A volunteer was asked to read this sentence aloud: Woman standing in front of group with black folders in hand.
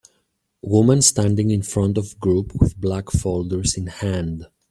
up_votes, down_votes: 2, 0